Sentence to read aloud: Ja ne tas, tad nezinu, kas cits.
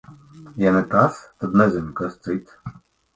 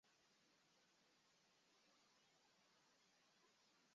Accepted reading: first